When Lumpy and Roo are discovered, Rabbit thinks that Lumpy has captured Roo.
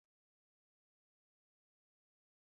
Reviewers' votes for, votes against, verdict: 0, 2, rejected